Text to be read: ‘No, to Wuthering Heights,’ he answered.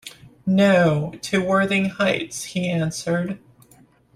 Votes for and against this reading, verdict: 1, 2, rejected